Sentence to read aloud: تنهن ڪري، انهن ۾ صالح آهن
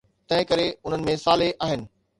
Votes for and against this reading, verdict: 2, 0, accepted